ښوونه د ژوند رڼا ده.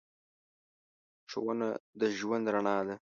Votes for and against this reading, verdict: 2, 0, accepted